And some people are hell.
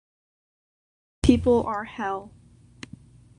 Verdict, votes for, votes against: rejected, 0, 2